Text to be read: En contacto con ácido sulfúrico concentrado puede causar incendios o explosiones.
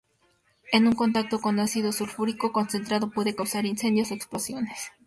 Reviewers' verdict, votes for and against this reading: rejected, 0, 2